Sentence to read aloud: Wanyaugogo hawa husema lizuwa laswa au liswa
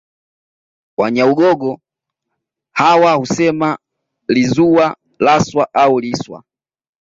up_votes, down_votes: 2, 1